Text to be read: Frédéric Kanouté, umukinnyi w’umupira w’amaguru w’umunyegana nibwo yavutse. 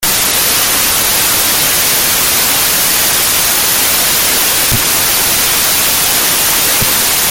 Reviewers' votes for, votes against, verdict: 0, 2, rejected